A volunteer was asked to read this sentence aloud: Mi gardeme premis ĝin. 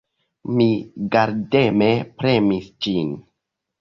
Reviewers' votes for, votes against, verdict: 1, 2, rejected